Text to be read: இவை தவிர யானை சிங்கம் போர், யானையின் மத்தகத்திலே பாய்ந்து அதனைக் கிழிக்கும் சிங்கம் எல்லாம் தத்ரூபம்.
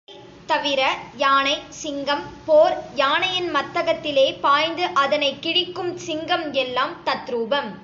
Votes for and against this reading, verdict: 0, 2, rejected